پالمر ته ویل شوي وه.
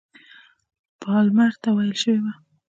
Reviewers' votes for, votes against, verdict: 2, 0, accepted